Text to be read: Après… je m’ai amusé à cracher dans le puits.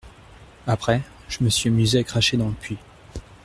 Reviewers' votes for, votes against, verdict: 0, 2, rejected